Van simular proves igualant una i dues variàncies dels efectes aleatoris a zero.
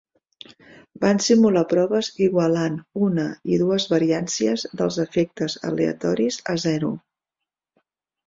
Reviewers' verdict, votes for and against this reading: accepted, 2, 0